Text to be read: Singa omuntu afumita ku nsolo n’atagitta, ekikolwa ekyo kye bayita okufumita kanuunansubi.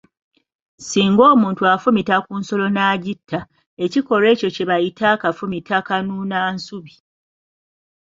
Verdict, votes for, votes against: rejected, 0, 2